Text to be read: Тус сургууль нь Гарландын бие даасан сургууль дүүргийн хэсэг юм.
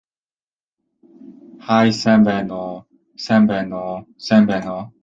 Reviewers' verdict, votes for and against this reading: rejected, 0, 2